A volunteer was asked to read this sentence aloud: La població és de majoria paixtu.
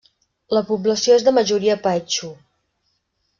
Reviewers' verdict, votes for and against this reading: rejected, 1, 2